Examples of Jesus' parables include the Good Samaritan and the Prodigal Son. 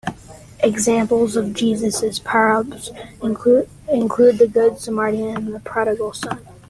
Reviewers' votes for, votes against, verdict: 1, 2, rejected